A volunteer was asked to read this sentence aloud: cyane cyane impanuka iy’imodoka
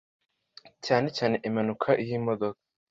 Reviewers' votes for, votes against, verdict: 2, 0, accepted